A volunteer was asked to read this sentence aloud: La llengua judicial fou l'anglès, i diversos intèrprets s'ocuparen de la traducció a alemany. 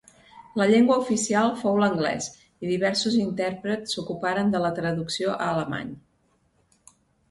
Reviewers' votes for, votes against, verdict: 0, 2, rejected